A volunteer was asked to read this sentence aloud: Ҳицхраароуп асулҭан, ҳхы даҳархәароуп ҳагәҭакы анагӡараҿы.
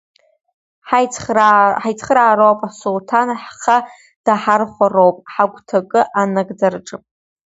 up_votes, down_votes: 0, 2